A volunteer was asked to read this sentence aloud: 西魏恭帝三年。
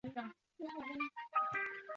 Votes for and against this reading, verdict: 0, 2, rejected